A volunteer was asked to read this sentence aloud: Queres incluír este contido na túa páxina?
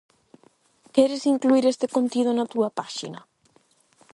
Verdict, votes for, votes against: accepted, 8, 0